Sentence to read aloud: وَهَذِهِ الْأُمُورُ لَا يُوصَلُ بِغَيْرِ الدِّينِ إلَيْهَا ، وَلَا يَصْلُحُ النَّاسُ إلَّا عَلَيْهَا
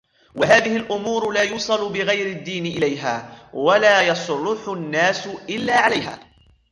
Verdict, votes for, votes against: rejected, 0, 2